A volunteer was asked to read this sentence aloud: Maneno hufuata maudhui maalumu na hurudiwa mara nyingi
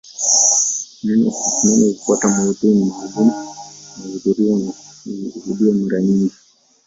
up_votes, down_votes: 1, 2